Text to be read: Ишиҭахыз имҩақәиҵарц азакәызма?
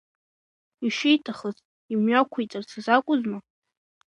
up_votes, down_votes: 2, 1